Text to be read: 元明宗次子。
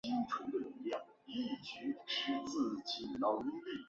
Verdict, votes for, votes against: rejected, 0, 4